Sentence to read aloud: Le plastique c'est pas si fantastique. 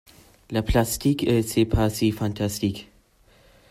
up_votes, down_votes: 0, 2